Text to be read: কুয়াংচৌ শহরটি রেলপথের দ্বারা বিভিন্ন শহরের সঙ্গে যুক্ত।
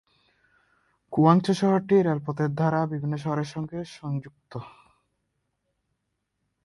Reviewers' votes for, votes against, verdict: 0, 2, rejected